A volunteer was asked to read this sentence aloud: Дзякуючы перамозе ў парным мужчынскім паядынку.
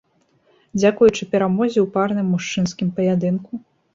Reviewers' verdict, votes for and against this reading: accepted, 2, 0